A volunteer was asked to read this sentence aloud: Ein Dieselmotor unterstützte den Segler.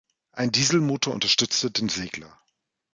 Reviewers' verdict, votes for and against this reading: accepted, 2, 0